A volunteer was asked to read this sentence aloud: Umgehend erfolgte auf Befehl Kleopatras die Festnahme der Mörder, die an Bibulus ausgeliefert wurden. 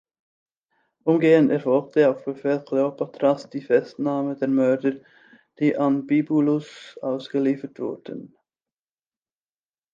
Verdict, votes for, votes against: accepted, 2, 0